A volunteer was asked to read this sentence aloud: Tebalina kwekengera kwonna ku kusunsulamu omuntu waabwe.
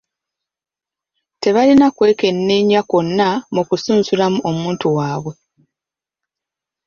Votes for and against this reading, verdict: 0, 2, rejected